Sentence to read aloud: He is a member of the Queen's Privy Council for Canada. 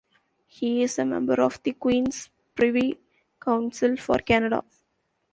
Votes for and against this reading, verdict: 2, 0, accepted